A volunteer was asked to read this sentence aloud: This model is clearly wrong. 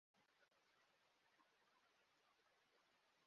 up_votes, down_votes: 0, 2